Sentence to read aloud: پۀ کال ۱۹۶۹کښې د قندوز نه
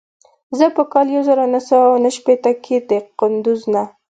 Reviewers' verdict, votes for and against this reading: rejected, 0, 2